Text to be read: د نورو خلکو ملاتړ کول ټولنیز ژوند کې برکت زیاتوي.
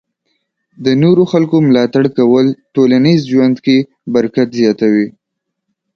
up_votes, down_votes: 3, 0